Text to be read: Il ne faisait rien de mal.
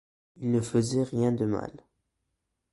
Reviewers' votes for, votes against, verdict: 2, 0, accepted